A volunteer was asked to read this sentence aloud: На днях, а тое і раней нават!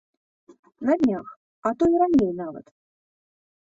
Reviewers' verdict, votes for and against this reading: rejected, 1, 2